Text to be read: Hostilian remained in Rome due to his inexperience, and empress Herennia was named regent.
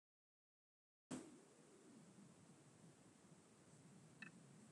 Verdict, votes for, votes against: rejected, 0, 2